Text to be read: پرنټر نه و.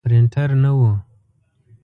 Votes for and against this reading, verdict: 2, 0, accepted